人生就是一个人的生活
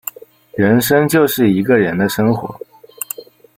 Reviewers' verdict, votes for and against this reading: rejected, 1, 2